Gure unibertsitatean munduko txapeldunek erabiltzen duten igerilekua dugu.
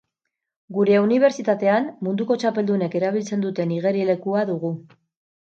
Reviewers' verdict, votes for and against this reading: accepted, 6, 0